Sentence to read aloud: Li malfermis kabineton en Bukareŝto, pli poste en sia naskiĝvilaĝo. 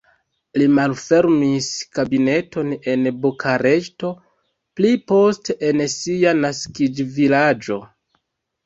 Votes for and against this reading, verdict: 0, 2, rejected